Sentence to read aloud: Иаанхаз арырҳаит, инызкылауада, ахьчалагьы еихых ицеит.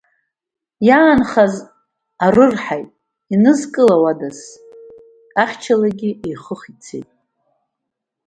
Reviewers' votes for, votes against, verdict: 2, 1, accepted